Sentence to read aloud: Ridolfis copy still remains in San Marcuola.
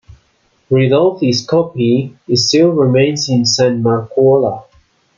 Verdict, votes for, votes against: accepted, 2, 0